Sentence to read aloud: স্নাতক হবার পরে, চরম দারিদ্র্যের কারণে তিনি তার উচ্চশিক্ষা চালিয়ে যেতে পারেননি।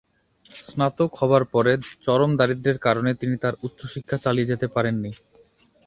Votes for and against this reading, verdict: 2, 0, accepted